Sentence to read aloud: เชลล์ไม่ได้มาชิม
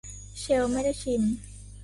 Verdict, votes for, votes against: rejected, 0, 3